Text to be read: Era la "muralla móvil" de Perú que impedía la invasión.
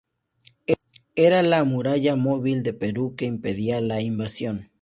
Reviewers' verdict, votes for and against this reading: rejected, 0, 2